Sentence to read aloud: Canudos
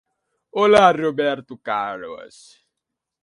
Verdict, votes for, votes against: rejected, 0, 2